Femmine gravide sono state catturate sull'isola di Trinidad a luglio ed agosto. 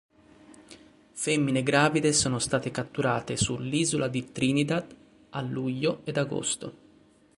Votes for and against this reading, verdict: 3, 0, accepted